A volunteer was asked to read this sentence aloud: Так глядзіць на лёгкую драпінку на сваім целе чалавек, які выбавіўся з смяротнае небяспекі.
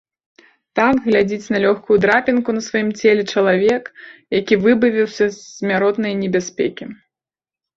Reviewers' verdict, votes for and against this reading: accepted, 2, 0